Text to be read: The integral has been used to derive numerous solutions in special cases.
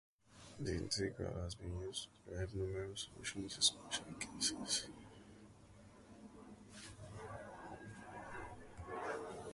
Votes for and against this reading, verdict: 0, 2, rejected